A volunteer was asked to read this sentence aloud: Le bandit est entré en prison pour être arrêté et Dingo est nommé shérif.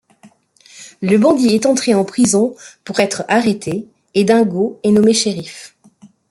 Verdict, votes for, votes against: accepted, 2, 0